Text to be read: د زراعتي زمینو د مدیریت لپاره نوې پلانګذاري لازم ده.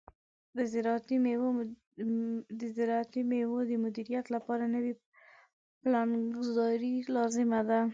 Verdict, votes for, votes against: rejected, 0, 2